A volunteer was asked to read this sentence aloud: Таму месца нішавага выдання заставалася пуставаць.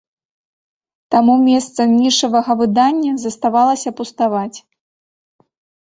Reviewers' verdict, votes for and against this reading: accepted, 2, 0